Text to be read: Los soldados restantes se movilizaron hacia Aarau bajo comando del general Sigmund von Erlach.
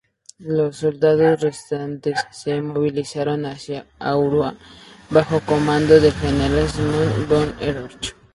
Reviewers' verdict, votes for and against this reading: accepted, 2, 0